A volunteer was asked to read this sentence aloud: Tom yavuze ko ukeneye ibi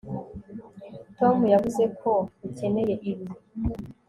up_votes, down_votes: 2, 0